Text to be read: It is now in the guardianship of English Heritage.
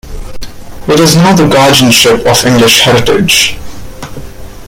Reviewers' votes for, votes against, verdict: 1, 2, rejected